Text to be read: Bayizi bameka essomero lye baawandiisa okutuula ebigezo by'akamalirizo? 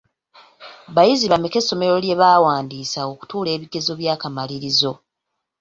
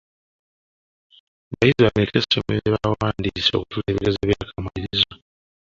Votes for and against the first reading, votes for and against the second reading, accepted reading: 2, 0, 0, 2, first